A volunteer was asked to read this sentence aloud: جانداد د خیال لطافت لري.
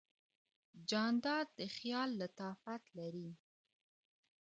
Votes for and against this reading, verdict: 1, 2, rejected